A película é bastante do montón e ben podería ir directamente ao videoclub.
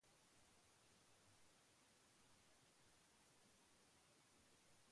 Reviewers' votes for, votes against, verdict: 0, 2, rejected